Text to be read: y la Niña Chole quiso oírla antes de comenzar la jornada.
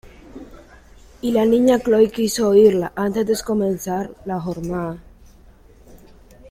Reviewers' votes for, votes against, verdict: 1, 2, rejected